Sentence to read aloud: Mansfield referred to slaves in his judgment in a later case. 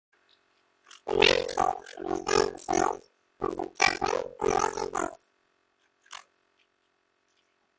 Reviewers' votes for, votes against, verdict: 0, 2, rejected